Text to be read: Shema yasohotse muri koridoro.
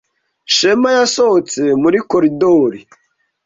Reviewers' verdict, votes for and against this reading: rejected, 1, 2